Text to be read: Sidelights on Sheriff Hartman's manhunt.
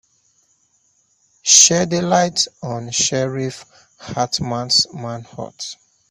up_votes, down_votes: 0, 2